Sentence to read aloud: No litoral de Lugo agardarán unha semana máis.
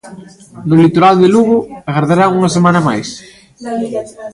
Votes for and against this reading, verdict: 1, 2, rejected